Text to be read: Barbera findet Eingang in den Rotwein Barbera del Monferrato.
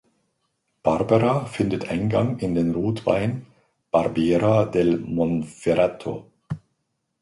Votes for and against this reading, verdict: 1, 2, rejected